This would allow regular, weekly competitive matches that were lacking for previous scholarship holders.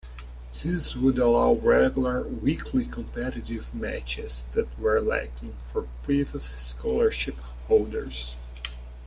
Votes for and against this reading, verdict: 1, 3, rejected